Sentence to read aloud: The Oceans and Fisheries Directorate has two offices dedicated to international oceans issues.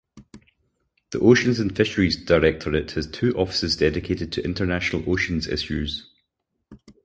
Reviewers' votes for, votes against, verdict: 6, 0, accepted